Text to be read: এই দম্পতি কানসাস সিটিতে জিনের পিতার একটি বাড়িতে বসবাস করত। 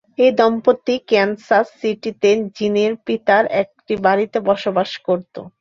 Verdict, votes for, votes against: rejected, 0, 2